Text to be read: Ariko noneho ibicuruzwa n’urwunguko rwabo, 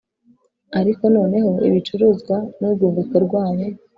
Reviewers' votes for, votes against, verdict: 2, 0, accepted